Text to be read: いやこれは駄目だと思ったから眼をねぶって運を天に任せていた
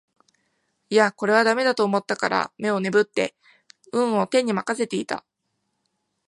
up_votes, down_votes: 2, 1